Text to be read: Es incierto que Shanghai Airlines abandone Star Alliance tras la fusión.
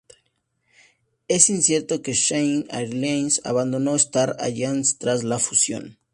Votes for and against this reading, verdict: 2, 0, accepted